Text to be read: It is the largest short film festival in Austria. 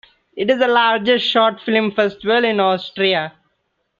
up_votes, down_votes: 2, 1